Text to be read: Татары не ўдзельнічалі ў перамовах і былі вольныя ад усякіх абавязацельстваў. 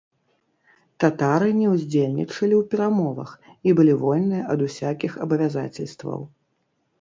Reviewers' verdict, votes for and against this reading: rejected, 1, 3